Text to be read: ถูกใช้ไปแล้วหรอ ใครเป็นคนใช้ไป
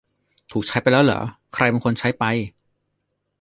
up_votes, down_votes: 0, 2